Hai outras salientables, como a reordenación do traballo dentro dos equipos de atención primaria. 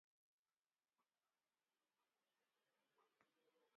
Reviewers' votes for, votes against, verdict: 0, 2, rejected